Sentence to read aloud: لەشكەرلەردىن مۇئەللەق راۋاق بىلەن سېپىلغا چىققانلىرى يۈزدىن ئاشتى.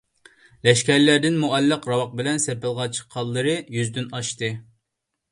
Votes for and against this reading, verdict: 2, 1, accepted